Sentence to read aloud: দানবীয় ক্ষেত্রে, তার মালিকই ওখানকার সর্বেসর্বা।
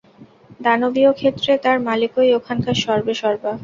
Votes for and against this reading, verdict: 0, 6, rejected